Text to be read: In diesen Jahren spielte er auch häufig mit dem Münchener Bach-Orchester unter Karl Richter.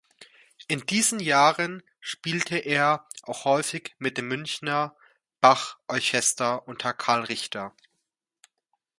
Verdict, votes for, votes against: accepted, 2, 0